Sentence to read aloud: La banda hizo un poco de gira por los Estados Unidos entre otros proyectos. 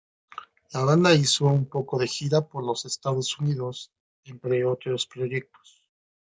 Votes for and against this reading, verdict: 2, 1, accepted